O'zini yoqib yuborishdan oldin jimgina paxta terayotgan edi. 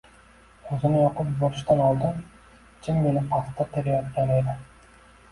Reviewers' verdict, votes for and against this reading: accepted, 2, 0